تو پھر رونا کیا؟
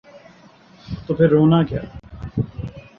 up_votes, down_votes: 2, 0